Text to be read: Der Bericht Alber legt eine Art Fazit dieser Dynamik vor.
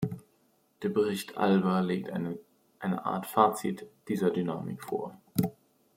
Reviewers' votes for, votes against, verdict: 0, 2, rejected